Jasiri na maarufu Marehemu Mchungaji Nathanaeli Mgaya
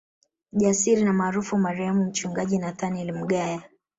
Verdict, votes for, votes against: rejected, 1, 2